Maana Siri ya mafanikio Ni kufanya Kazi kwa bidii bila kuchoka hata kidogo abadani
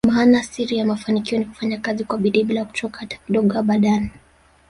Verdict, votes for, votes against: accepted, 2, 1